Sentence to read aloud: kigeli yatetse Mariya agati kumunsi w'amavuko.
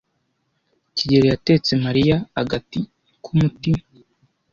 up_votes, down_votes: 1, 2